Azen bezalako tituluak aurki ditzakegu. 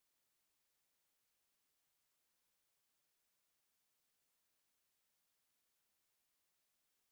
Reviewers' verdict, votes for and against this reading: rejected, 0, 2